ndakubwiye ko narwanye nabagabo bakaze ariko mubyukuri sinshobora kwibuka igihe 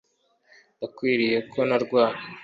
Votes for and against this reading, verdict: 0, 2, rejected